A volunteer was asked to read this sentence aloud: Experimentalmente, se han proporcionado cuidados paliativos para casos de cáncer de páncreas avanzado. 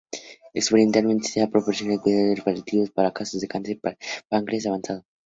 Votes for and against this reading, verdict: 2, 0, accepted